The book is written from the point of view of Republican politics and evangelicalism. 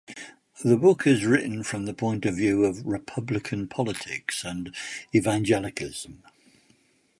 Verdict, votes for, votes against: rejected, 0, 2